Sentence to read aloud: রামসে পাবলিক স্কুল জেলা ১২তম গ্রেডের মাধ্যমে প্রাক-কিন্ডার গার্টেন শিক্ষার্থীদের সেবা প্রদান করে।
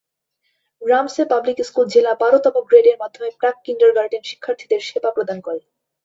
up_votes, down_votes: 0, 2